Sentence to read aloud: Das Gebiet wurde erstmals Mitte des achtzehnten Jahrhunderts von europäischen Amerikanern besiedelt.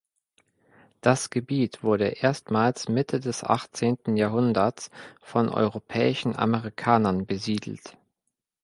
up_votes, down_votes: 2, 0